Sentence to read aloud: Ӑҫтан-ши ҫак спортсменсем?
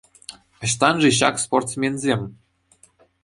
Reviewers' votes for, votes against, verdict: 2, 0, accepted